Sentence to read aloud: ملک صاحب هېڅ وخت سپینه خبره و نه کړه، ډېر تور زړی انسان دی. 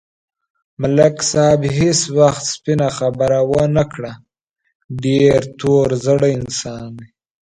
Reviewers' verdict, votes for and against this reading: accepted, 2, 0